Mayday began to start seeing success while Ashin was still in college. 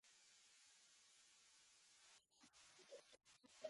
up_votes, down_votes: 0, 2